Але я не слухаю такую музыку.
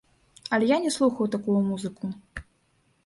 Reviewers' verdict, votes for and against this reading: accepted, 2, 1